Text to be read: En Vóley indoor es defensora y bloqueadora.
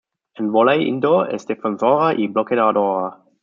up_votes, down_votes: 0, 2